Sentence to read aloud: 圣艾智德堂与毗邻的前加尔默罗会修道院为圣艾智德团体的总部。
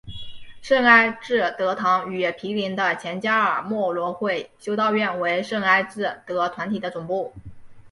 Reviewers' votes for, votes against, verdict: 3, 1, accepted